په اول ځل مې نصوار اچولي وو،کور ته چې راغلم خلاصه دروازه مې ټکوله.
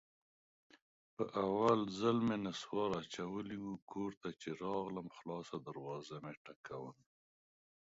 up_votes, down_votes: 2, 1